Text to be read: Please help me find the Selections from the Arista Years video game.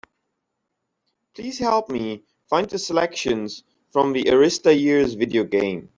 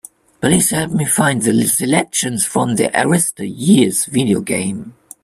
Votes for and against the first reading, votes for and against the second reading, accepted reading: 2, 1, 1, 2, first